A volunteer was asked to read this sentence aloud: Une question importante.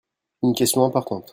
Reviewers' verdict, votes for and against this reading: rejected, 1, 2